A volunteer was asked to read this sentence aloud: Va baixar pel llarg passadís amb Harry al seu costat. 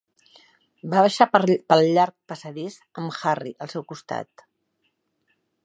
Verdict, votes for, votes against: rejected, 0, 2